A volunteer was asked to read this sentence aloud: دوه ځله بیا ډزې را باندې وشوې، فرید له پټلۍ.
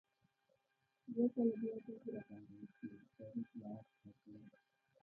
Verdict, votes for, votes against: rejected, 0, 2